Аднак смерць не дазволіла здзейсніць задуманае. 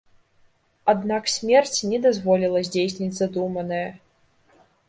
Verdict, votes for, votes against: accepted, 2, 0